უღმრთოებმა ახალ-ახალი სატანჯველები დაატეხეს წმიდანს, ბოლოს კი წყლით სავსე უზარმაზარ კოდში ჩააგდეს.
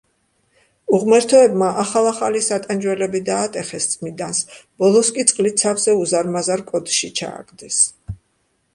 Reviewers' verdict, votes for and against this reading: rejected, 0, 2